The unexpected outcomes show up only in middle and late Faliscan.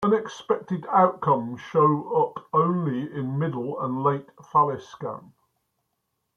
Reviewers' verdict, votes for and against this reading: rejected, 1, 2